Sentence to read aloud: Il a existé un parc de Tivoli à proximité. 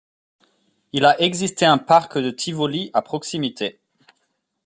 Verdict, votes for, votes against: accepted, 2, 0